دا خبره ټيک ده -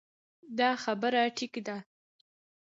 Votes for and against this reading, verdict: 2, 0, accepted